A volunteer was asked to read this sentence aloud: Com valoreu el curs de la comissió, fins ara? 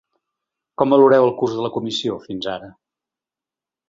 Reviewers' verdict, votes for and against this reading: accepted, 2, 0